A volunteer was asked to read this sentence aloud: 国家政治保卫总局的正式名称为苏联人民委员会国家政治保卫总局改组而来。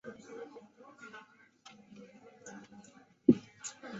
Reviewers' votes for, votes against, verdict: 0, 2, rejected